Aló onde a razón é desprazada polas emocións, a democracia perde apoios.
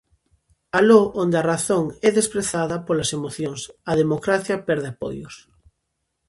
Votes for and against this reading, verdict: 2, 1, accepted